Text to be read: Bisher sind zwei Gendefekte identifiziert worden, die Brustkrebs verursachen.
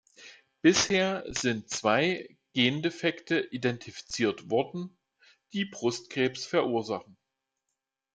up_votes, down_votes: 2, 0